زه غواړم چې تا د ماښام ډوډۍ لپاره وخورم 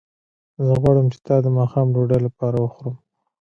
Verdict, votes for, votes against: rejected, 1, 2